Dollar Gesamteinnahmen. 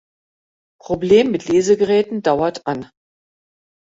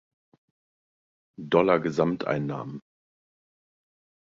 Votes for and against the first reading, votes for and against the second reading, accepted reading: 0, 2, 2, 0, second